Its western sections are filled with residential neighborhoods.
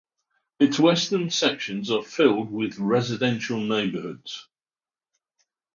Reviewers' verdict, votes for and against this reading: accepted, 6, 0